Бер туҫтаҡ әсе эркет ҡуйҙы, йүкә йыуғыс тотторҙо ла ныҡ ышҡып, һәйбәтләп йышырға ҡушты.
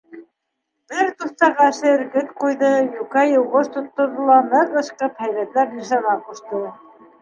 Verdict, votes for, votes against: rejected, 1, 2